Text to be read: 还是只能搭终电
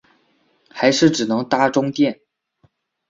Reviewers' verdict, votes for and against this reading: rejected, 0, 2